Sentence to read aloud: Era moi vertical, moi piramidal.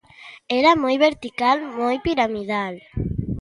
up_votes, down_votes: 2, 1